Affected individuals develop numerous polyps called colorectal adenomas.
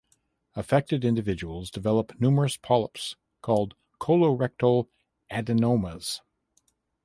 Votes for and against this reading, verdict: 0, 2, rejected